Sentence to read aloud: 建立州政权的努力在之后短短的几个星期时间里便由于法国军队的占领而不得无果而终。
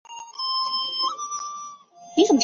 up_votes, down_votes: 0, 6